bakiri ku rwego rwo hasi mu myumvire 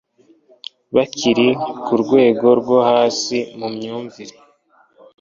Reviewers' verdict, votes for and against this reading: accepted, 2, 1